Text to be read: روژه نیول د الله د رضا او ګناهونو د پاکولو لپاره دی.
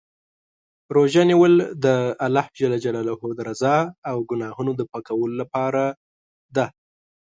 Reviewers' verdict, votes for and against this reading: accepted, 2, 0